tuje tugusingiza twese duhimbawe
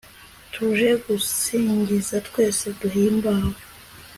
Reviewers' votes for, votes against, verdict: 2, 0, accepted